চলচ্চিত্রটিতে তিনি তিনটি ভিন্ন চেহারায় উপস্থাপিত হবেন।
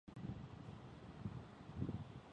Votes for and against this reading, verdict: 0, 2, rejected